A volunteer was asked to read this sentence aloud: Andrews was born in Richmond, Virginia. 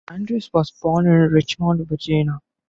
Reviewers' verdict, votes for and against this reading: rejected, 1, 2